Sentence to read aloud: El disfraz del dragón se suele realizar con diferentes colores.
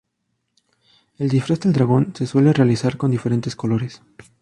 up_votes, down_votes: 2, 0